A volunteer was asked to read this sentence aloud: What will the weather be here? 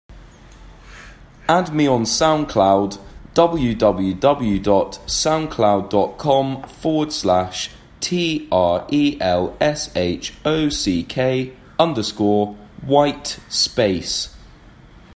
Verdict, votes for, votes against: rejected, 0, 2